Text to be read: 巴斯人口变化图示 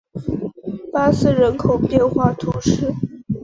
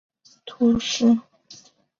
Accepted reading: first